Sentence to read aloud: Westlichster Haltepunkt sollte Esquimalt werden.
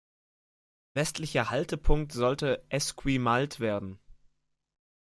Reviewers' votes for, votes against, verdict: 1, 2, rejected